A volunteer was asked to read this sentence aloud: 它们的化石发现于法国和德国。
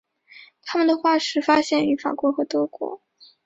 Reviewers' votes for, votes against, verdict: 2, 0, accepted